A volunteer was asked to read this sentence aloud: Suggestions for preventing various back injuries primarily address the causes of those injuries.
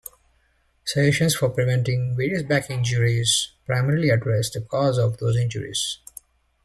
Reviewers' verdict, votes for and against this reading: accepted, 2, 0